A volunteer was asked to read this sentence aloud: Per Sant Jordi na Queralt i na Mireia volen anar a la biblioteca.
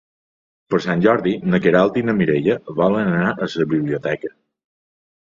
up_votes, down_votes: 0, 2